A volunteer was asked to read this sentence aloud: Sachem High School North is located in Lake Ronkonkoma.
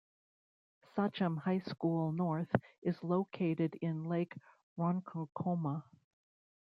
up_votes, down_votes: 2, 1